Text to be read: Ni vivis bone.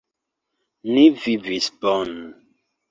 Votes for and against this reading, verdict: 2, 1, accepted